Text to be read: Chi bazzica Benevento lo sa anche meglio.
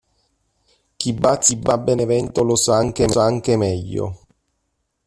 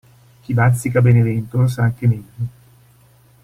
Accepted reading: second